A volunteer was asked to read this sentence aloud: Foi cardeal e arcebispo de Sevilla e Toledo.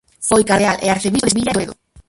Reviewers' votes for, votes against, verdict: 0, 4, rejected